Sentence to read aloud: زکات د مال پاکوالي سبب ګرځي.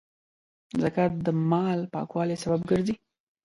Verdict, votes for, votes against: accepted, 2, 0